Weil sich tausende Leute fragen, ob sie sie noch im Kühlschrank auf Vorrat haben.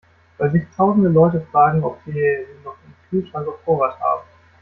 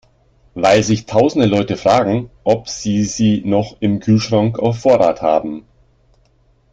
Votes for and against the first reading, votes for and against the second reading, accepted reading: 1, 2, 2, 0, second